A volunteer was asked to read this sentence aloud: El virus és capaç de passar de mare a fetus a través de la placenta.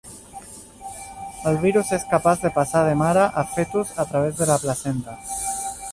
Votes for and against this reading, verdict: 0, 2, rejected